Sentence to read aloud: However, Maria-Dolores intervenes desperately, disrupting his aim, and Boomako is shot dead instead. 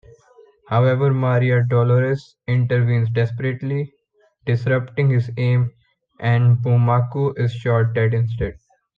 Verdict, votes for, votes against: rejected, 1, 2